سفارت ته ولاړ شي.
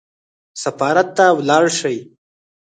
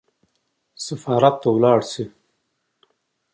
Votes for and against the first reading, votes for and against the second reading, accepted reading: 0, 4, 2, 0, second